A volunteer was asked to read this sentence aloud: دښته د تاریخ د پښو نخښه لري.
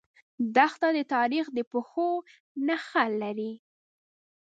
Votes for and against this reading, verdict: 0, 2, rejected